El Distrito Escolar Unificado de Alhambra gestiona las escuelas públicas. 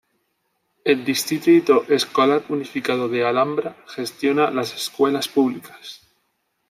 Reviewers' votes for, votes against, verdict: 1, 2, rejected